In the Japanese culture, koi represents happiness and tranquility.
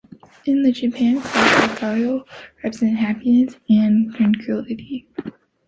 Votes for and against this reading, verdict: 0, 3, rejected